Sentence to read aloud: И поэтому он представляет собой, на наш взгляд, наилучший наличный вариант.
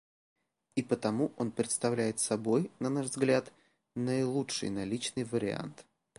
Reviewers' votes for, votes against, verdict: 0, 2, rejected